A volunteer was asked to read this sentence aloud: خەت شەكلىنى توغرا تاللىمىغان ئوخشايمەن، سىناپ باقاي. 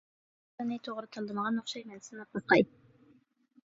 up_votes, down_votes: 0, 2